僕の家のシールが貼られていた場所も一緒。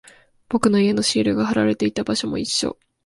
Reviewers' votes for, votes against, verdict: 2, 0, accepted